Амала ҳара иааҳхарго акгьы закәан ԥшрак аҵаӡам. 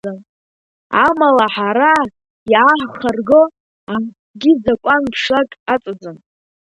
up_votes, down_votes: 0, 2